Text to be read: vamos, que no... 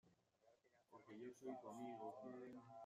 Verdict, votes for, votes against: rejected, 0, 2